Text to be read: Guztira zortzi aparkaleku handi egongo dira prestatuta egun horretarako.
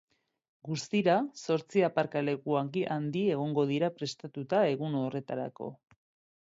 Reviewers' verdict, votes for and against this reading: rejected, 0, 2